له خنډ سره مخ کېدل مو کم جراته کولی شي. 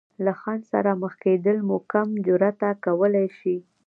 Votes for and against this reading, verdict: 0, 2, rejected